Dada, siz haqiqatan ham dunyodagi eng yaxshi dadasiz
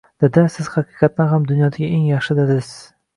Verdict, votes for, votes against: accepted, 2, 0